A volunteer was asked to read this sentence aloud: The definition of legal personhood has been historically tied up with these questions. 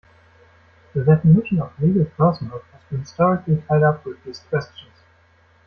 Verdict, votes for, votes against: rejected, 1, 2